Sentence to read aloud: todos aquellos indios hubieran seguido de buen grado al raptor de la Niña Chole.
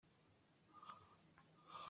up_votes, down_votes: 0, 2